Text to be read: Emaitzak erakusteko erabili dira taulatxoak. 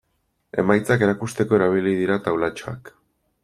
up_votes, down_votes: 2, 0